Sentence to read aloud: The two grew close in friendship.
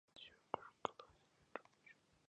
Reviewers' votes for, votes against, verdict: 0, 2, rejected